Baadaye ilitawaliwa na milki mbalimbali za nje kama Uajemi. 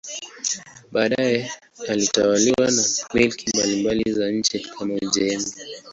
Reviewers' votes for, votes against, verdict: 0, 2, rejected